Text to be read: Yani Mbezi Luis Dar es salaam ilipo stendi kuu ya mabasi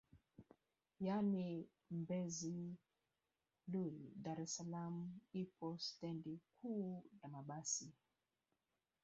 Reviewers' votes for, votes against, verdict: 1, 2, rejected